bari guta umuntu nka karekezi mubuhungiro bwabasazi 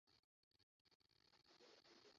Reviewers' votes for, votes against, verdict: 0, 2, rejected